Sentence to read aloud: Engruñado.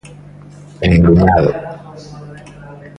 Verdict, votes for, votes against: accepted, 2, 1